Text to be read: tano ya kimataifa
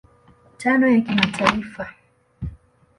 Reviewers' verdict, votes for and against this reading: rejected, 1, 2